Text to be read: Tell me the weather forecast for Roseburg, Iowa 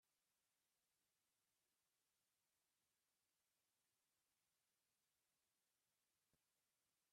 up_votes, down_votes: 0, 2